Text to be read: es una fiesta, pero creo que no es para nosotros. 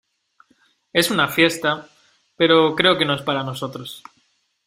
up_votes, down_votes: 2, 0